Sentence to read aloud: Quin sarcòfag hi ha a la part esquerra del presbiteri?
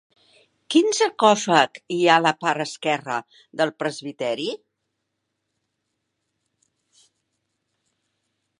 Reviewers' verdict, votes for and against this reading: accepted, 2, 1